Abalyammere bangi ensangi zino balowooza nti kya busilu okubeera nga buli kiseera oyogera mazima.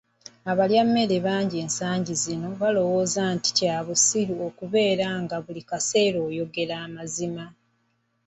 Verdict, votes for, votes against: rejected, 1, 2